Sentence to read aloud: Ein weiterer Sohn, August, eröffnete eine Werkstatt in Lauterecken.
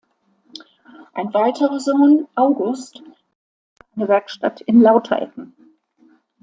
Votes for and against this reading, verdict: 0, 2, rejected